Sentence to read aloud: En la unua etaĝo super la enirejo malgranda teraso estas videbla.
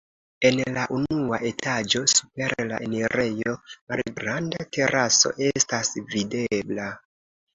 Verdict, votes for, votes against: accepted, 2, 0